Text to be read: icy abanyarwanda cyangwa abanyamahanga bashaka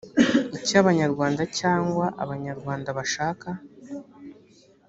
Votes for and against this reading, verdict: 1, 2, rejected